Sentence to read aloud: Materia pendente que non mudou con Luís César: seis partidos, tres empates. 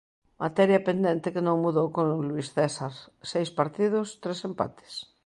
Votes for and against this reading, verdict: 1, 2, rejected